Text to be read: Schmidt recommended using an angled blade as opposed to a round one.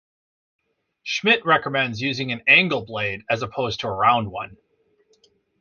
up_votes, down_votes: 1, 2